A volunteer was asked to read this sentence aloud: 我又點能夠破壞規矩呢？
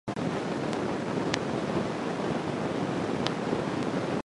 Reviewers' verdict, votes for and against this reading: rejected, 0, 2